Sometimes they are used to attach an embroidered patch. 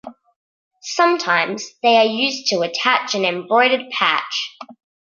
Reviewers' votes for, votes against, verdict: 1, 2, rejected